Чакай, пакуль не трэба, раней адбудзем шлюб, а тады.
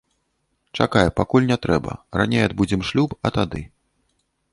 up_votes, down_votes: 2, 0